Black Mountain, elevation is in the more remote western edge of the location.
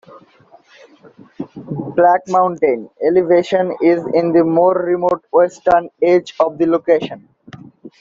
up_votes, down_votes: 2, 0